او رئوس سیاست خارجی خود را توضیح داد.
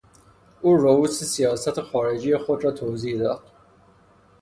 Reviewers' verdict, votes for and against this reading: accepted, 3, 0